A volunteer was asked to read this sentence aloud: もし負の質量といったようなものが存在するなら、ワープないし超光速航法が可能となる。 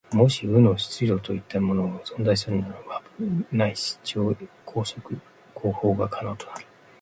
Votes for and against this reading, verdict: 1, 3, rejected